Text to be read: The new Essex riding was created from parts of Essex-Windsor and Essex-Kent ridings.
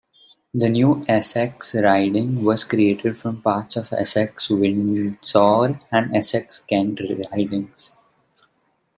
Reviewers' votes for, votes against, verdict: 1, 2, rejected